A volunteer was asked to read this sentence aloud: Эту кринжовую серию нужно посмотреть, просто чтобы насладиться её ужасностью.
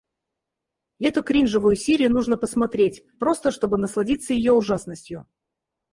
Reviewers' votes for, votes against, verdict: 2, 4, rejected